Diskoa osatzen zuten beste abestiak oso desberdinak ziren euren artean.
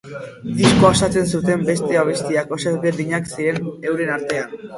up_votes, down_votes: 2, 2